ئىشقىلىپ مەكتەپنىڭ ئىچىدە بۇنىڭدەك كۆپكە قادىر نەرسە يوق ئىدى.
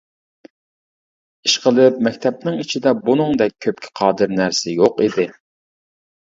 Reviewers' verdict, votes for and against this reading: accepted, 2, 0